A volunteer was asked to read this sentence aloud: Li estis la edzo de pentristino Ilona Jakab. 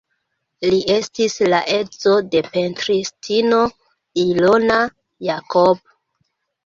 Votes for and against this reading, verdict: 0, 2, rejected